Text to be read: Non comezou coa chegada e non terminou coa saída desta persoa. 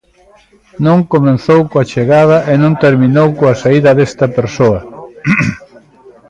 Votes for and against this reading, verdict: 0, 2, rejected